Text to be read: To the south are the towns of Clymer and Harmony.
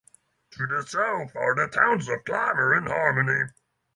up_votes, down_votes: 6, 0